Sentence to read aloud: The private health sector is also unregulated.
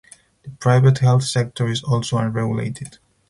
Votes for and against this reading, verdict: 4, 0, accepted